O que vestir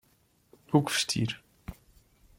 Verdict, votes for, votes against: accepted, 2, 0